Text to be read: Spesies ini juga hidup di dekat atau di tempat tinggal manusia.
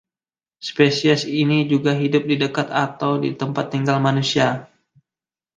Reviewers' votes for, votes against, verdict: 2, 0, accepted